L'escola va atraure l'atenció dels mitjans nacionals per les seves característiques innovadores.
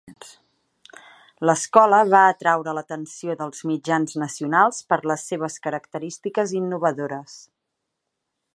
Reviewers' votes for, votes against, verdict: 2, 0, accepted